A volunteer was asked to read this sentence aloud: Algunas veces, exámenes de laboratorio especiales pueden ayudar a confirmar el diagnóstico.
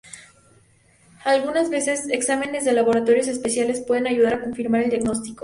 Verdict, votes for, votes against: accepted, 4, 0